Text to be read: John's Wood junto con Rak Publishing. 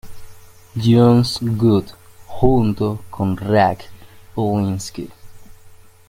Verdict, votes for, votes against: rejected, 0, 2